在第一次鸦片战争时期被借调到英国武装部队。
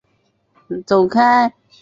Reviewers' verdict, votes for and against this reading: rejected, 2, 5